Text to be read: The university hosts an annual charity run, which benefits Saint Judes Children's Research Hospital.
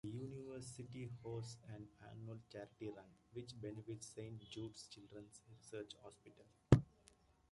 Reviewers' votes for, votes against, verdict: 1, 2, rejected